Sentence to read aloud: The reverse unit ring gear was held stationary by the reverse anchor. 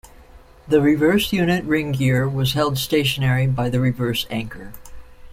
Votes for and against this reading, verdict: 2, 0, accepted